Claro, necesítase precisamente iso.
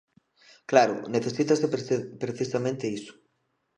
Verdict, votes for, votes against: rejected, 0, 2